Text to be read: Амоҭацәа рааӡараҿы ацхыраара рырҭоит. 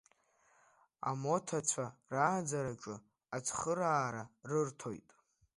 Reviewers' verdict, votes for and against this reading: accepted, 2, 0